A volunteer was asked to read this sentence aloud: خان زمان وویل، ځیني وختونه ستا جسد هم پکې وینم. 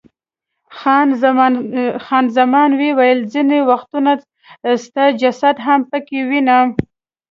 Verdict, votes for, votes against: accepted, 2, 1